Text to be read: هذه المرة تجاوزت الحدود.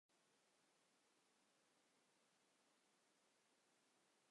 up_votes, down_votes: 1, 2